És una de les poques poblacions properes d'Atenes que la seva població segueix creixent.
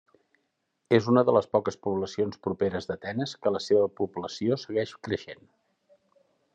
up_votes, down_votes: 1, 2